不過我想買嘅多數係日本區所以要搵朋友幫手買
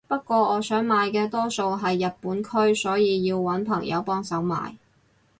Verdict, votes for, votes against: rejected, 2, 2